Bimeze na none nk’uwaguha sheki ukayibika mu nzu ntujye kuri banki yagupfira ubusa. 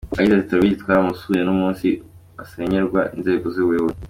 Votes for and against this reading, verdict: 0, 2, rejected